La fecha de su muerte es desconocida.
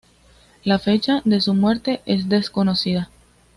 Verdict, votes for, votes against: accepted, 2, 0